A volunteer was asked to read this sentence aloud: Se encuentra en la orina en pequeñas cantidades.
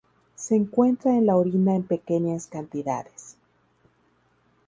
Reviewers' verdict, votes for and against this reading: accepted, 2, 0